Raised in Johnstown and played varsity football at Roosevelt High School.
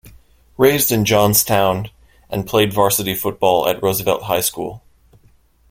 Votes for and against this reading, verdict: 2, 0, accepted